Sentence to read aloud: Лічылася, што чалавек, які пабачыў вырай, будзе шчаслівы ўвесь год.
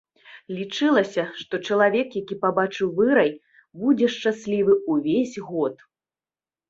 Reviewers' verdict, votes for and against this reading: accepted, 2, 1